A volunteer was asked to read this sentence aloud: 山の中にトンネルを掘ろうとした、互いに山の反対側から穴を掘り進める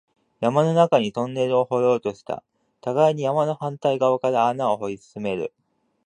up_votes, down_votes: 2, 1